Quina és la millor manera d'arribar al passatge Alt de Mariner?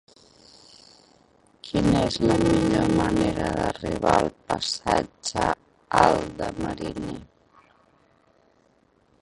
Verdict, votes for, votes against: rejected, 1, 3